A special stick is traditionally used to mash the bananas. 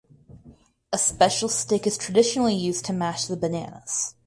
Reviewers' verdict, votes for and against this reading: rejected, 0, 2